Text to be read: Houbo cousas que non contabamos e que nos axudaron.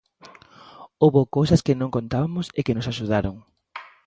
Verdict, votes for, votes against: rejected, 0, 2